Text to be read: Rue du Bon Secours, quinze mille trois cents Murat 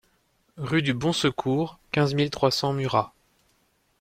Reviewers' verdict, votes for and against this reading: accepted, 2, 0